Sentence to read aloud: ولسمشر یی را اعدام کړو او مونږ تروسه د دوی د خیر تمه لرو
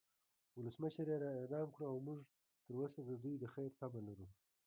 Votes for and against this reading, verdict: 1, 2, rejected